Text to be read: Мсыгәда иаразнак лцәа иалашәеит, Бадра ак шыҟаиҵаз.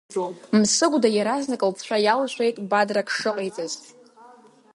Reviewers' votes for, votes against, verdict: 3, 0, accepted